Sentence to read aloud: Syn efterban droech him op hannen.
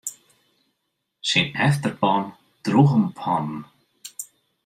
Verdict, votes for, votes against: rejected, 1, 2